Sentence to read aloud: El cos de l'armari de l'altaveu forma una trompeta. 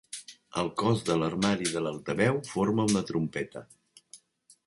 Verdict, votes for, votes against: accepted, 2, 0